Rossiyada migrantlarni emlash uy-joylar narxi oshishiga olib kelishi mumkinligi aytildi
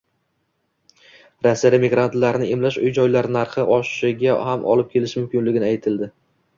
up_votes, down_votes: 0, 2